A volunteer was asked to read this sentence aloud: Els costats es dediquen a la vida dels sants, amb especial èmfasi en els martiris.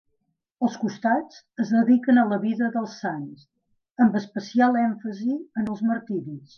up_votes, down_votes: 2, 0